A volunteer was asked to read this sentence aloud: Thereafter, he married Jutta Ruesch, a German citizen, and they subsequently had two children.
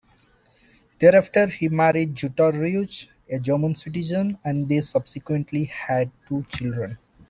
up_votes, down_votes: 0, 2